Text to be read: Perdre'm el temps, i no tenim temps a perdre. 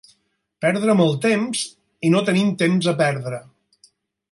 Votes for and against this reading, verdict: 0, 4, rejected